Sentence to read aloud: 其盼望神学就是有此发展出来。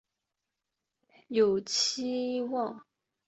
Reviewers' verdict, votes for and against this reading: rejected, 1, 4